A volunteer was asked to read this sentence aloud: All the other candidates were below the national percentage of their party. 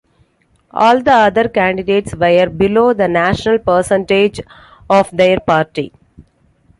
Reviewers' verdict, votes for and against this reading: rejected, 1, 2